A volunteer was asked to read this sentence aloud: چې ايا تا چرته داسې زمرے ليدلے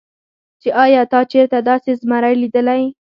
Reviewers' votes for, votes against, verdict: 4, 0, accepted